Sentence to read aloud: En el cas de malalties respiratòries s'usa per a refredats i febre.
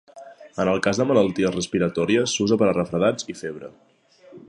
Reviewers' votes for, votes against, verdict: 2, 0, accepted